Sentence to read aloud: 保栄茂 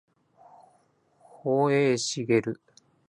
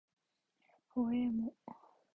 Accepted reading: first